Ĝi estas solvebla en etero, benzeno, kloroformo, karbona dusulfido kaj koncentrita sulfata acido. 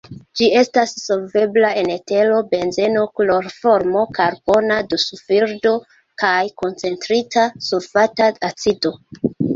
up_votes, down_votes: 0, 2